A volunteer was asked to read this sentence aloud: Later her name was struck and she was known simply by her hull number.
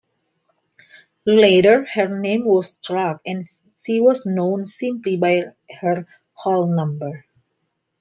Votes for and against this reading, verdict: 0, 2, rejected